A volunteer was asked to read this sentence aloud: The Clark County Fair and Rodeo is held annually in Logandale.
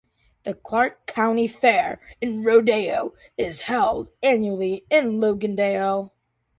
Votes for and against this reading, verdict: 2, 0, accepted